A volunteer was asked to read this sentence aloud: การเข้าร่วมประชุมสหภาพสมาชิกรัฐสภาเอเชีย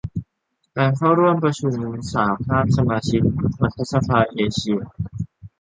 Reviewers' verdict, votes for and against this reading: accepted, 2, 0